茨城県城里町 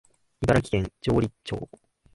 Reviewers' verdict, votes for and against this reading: accepted, 3, 0